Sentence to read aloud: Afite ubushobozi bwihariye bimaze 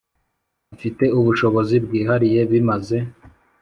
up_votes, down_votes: 1, 2